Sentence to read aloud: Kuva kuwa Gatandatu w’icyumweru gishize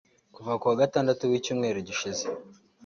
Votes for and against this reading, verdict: 3, 0, accepted